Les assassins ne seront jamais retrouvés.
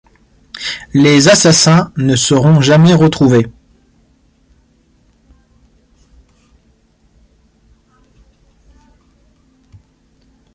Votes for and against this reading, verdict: 1, 2, rejected